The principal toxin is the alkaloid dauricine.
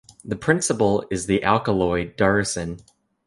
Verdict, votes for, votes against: rejected, 0, 2